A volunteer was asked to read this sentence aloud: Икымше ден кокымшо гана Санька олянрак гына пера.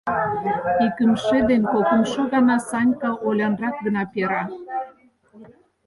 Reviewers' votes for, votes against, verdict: 0, 4, rejected